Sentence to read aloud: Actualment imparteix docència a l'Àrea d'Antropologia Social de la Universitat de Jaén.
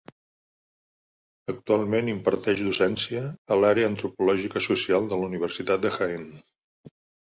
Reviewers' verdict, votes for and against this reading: rejected, 0, 2